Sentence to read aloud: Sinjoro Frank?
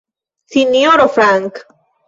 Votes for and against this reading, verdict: 2, 1, accepted